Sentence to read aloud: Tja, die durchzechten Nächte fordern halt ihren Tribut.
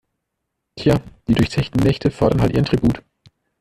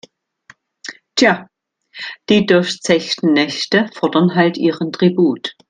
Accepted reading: second